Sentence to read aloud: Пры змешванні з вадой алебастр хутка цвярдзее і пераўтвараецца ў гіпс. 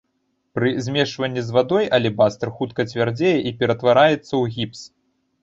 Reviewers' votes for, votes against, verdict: 1, 2, rejected